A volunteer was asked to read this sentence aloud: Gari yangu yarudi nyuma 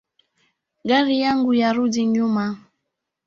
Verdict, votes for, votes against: accepted, 3, 0